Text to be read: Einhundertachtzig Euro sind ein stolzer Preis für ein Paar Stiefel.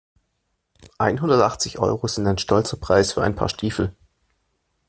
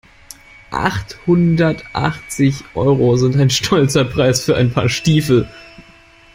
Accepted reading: first